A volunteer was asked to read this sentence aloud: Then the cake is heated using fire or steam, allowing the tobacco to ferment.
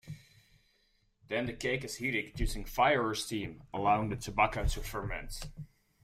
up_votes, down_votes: 2, 0